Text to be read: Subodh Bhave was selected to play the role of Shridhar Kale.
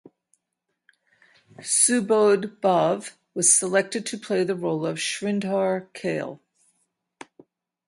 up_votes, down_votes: 4, 4